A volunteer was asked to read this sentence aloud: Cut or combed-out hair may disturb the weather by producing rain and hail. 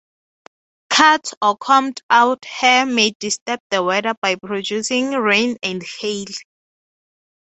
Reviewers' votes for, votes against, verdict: 0, 6, rejected